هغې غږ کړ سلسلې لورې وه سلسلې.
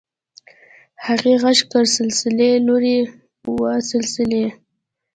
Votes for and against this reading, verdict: 2, 0, accepted